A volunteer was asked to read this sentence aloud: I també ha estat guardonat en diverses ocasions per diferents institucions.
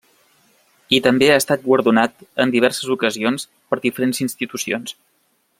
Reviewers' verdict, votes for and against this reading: accepted, 3, 0